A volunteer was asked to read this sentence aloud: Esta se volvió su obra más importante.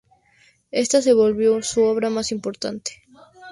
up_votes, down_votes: 2, 0